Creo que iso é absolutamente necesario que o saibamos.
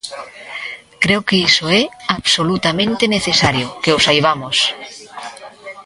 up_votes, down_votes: 2, 1